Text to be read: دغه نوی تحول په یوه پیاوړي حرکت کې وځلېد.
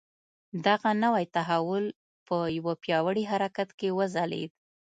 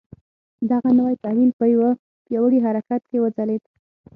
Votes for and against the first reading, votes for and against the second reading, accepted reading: 2, 0, 3, 6, first